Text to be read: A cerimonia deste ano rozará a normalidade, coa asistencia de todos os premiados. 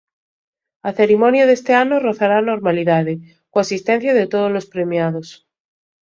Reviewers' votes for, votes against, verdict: 2, 1, accepted